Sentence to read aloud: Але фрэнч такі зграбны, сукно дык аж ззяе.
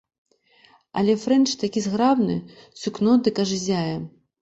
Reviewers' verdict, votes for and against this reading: accepted, 2, 0